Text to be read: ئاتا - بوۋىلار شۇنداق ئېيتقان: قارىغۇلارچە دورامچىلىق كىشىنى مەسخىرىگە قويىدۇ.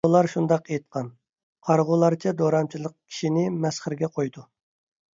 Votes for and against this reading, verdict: 1, 2, rejected